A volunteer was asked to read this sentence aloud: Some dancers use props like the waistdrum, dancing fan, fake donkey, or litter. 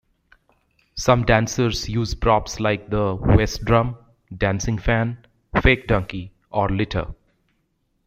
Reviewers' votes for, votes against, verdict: 1, 2, rejected